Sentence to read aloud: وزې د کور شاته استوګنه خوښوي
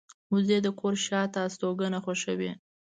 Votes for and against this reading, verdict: 2, 0, accepted